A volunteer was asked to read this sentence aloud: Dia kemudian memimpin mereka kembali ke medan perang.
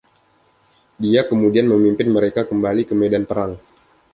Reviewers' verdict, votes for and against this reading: accepted, 2, 0